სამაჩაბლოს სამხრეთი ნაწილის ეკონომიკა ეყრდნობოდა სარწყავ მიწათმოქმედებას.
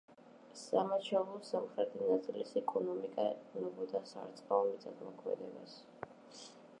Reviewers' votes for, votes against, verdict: 0, 2, rejected